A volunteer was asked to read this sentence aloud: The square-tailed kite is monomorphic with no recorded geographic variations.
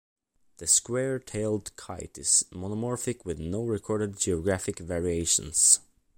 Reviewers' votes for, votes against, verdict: 3, 0, accepted